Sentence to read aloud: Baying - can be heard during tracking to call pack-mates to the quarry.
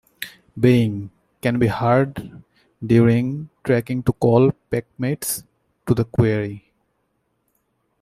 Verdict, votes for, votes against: accepted, 2, 0